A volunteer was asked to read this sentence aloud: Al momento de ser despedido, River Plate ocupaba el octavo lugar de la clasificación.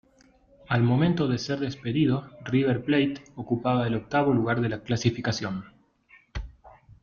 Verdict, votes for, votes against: accepted, 2, 0